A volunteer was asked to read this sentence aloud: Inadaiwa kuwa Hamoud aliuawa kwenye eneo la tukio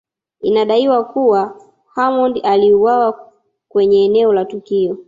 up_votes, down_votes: 2, 0